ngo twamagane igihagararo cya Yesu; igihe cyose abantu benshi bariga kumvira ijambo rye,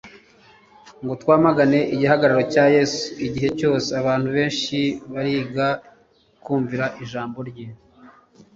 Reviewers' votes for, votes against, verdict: 2, 0, accepted